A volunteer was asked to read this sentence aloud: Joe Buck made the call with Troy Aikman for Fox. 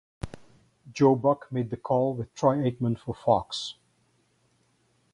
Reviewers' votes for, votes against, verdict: 4, 0, accepted